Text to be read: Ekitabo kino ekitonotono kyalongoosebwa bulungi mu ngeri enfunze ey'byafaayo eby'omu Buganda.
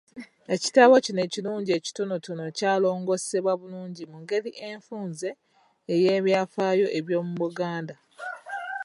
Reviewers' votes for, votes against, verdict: 1, 2, rejected